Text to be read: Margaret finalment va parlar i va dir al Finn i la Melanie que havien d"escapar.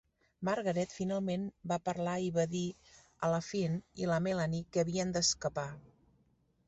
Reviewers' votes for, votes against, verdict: 0, 2, rejected